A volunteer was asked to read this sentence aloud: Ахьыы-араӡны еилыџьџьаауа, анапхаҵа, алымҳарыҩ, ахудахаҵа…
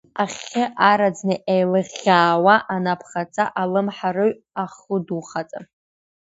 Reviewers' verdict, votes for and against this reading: rejected, 0, 2